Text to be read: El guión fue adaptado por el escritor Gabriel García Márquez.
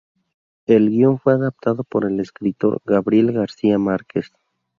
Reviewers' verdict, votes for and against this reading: accepted, 2, 0